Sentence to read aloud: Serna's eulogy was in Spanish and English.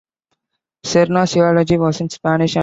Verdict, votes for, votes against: rejected, 1, 2